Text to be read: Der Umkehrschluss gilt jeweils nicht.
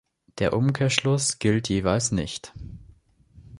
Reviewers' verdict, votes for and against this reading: accepted, 2, 0